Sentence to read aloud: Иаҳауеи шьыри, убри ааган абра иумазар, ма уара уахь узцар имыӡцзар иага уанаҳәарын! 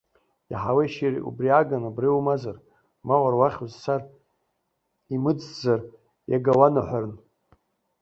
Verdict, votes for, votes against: rejected, 0, 2